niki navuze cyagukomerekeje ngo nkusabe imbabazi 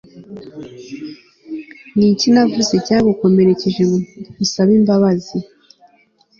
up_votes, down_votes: 2, 0